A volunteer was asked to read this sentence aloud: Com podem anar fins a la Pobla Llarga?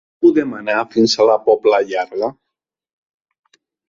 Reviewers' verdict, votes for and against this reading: rejected, 1, 3